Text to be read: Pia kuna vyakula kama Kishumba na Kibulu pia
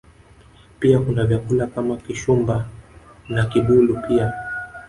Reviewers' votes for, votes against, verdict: 5, 0, accepted